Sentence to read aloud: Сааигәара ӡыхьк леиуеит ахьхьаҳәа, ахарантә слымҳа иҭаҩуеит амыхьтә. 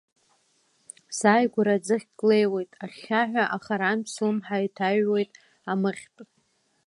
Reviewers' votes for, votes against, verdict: 2, 0, accepted